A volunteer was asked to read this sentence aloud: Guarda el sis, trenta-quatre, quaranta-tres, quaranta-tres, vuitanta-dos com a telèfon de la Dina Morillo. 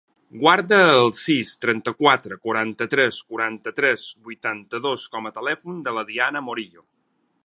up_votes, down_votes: 0, 4